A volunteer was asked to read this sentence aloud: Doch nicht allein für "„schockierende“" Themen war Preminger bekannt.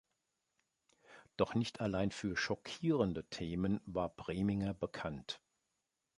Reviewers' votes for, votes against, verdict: 2, 0, accepted